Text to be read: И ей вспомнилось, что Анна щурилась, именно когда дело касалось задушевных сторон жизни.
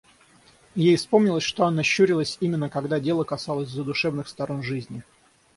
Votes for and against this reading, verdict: 3, 3, rejected